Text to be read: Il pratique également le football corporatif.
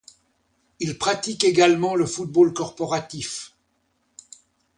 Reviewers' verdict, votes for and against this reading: accepted, 2, 0